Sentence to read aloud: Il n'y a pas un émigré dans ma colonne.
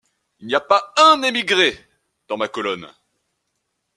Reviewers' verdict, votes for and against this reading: accepted, 2, 0